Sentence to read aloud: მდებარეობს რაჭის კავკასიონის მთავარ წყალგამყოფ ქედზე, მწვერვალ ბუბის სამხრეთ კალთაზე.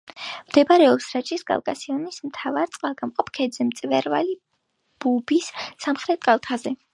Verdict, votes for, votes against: accepted, 2, 0